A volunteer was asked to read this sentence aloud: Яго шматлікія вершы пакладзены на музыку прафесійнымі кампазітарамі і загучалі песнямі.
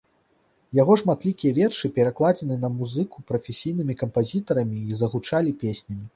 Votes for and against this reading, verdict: 1, 2, rejected